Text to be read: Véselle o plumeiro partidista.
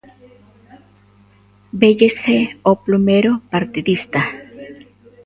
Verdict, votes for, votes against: rejected, 0, 2